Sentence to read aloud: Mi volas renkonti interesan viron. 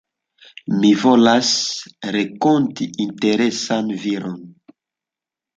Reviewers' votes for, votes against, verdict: 1, 2, rejected